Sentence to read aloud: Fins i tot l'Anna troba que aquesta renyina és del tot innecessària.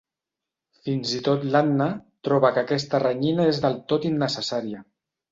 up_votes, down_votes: 3, 0